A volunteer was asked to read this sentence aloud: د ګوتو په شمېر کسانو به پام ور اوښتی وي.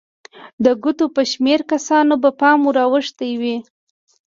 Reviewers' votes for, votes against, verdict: 2, 0, accepted